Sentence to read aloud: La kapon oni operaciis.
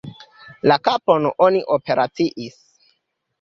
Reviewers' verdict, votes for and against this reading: rejected, 1, 2